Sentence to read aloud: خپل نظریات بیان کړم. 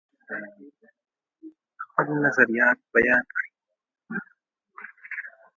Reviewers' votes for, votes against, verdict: 2, 0, accepted